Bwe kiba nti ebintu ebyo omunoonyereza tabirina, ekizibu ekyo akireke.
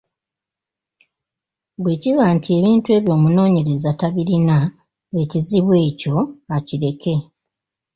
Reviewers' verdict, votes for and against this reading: rejected, 0, 2